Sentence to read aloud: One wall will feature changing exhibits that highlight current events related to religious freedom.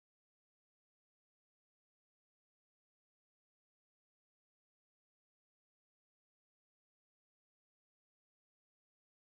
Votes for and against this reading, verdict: 0, 4, rejected